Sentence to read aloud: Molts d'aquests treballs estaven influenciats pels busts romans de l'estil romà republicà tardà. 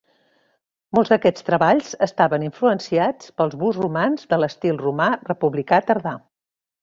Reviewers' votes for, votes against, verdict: 2, 0, accepted